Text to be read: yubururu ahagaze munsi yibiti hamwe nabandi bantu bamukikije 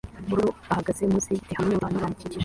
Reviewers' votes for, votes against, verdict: 1, 2, rejected